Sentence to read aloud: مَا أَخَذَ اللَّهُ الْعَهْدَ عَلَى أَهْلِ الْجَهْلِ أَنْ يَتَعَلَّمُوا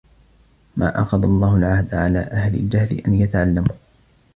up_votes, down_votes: 1, 2